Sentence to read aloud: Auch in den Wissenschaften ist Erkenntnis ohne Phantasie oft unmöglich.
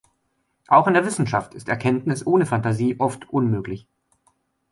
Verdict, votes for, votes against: rejected, 0, 2